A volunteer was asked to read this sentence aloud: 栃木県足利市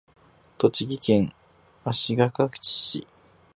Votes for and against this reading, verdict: 0, 6, rejected